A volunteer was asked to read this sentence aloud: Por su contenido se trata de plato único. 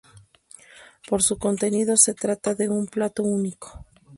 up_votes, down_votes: 0, 4